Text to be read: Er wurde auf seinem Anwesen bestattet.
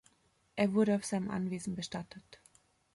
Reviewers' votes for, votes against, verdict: 2, 0, accepted